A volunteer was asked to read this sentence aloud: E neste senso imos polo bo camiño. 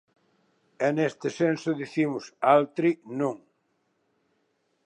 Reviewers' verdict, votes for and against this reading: rejected, 0, 2